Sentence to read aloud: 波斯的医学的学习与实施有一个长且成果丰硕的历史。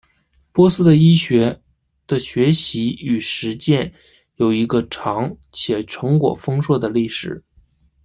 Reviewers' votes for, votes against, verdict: 0, 2, rejected